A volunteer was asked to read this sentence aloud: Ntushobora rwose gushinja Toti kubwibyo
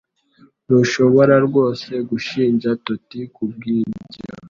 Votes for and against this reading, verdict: 2, 0, accepted